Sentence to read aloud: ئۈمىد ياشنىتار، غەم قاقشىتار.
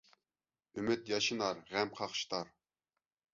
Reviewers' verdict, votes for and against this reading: rejected, 0, 2